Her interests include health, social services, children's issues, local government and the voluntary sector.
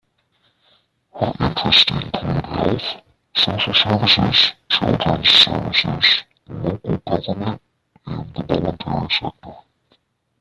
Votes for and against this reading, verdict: 0, 2, rejected